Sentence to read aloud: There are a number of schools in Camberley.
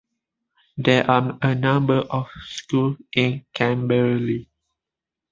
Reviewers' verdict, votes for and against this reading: rejected, 2, 3